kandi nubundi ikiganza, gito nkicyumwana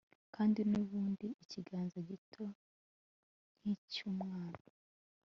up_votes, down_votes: 2, 0